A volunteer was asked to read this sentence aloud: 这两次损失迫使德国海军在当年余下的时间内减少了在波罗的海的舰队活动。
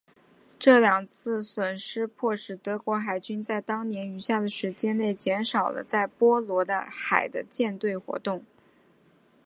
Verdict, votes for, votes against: accepted, 3, 1